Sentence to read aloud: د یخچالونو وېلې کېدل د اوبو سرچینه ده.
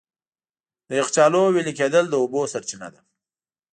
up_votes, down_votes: 2, 1